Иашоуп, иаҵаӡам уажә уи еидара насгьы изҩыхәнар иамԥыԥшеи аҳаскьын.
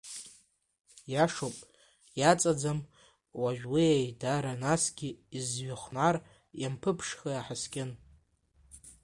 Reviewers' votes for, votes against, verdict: 1, 2, rejected